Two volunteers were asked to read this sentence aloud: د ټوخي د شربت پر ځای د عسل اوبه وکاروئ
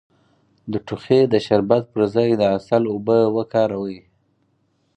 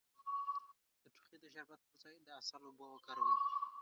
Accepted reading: first